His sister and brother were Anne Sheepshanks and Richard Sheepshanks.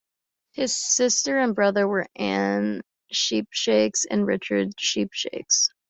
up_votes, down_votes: 2, 1